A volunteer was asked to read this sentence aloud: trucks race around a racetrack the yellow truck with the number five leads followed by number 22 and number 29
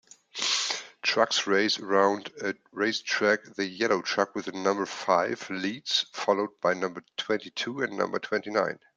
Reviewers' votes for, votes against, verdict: 0, 2, rejected